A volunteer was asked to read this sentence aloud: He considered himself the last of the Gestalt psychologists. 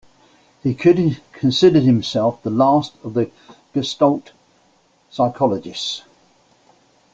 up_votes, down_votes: 0, 2